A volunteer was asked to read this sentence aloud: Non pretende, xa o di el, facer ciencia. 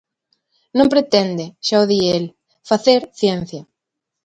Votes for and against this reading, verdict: 2, 0, accepted